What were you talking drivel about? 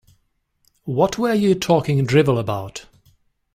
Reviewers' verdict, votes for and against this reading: accepted, 2, 0